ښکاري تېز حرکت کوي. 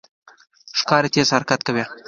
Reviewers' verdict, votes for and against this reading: accepted, 2, 0